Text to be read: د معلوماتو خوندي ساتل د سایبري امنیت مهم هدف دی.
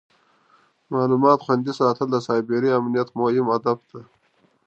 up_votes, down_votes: 2, 1